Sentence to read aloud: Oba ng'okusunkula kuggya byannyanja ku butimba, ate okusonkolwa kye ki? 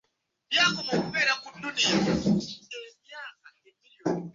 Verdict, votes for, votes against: rejected, 0, 2